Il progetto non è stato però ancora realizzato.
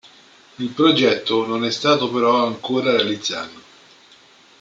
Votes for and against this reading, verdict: 2, 1, accepted